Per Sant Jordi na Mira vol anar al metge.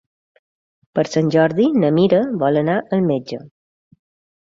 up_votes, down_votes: 3, 0